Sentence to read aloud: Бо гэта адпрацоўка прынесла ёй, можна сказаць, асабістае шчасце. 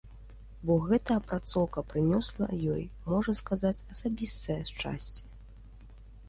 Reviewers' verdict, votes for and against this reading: rejected, 1, 2